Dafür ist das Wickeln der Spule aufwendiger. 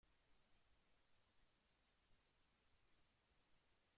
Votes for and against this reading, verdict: 0, 2, rejected